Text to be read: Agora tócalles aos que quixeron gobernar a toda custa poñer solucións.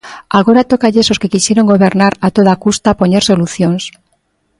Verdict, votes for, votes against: accepted, 2, 0